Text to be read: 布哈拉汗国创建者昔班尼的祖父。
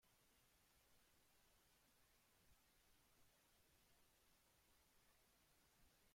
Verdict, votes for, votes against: rejected, 0, 2